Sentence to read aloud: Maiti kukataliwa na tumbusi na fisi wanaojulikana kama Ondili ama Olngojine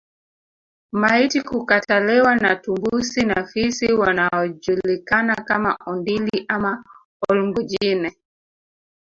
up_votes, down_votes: 0, 2